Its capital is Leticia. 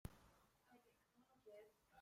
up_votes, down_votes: 0, 3